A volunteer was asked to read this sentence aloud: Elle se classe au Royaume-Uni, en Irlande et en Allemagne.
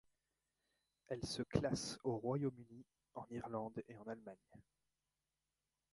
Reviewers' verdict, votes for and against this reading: rejected, 0, 2